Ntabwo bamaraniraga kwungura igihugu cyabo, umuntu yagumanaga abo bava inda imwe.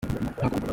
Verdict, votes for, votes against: rejected, 0, 2